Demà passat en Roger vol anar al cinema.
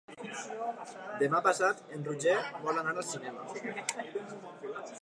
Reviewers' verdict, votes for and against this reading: accepted, 2, 0